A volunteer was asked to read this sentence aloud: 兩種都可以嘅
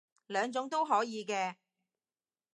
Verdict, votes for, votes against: accepted, 2, 0